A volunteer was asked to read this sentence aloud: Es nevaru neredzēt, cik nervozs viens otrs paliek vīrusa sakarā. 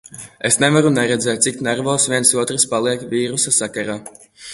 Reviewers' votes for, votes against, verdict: 2, 0, accepted